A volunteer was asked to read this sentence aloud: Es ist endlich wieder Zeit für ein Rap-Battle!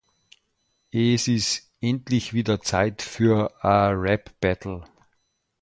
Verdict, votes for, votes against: rejected, 0, 2